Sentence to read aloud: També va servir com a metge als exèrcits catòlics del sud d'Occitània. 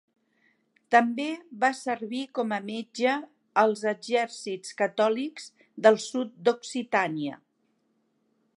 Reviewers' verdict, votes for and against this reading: accepted, 4, 0